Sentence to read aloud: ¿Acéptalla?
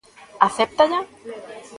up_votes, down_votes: 2, 0